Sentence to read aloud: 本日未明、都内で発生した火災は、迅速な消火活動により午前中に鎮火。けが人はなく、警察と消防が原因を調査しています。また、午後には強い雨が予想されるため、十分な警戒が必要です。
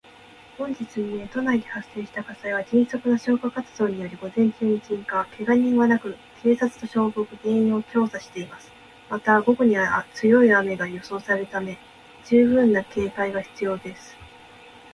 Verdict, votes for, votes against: accepted, 3, 1